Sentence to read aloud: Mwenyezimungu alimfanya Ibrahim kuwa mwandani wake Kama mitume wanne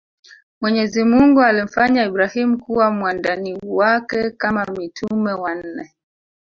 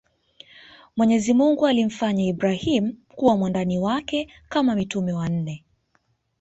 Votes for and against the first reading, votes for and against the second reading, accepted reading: 1, 2, 2, 0, second